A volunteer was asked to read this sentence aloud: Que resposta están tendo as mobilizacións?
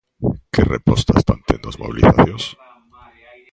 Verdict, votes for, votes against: rejected, 0, 2